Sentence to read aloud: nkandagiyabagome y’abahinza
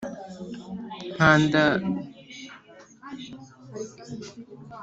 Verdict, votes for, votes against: rejected, 0, 2